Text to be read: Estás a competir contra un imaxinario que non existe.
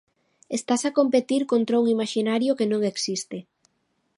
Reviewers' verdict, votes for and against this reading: accepted, 2, 0